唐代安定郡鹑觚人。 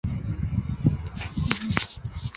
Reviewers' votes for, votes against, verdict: 0, 5, rejected